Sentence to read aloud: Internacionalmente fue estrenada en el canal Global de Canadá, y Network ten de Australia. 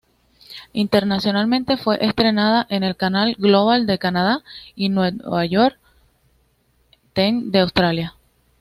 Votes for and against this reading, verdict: 1, 2, rejected